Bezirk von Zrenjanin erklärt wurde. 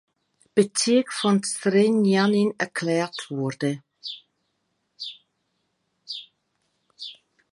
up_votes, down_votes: 2, 1